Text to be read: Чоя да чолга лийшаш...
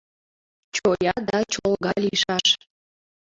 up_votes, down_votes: 1, 2